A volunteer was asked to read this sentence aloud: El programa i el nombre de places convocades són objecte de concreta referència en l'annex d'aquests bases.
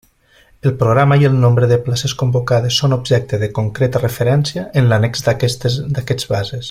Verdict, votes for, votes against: rejected, 0, 2